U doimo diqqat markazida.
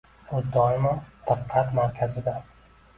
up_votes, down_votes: 0, 2